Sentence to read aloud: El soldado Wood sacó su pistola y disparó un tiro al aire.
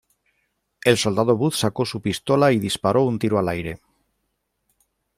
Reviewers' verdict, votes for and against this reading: accepted, 2, 0